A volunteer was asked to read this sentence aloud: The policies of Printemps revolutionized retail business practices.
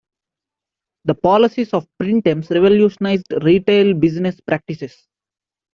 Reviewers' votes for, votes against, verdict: 2, 1, accepted